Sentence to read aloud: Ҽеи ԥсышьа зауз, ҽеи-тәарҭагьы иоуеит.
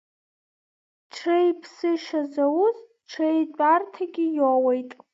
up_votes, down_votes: 2, 0